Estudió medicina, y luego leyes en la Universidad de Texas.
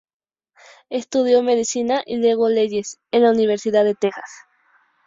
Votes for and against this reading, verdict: 2, 0, accepted